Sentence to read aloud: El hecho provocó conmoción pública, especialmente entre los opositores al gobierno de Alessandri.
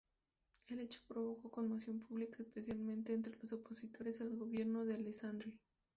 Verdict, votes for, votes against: rejected, 2, 2